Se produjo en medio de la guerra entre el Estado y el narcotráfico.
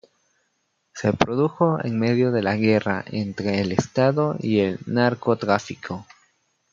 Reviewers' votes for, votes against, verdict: 2, 0, accepted